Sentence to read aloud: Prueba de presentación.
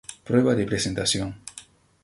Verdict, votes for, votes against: accepted, 2, 0